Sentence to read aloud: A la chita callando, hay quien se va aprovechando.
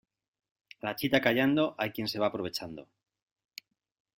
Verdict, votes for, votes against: accepted, 3, 0